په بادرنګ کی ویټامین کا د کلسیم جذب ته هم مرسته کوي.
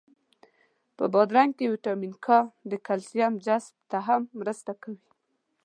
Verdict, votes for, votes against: accepted, 2, 0